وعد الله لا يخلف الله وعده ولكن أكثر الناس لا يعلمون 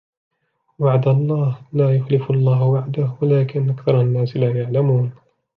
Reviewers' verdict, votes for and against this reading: accepted, 3, 2